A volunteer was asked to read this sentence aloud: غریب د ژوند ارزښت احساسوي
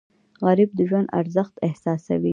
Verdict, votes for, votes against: accepted, 2, 0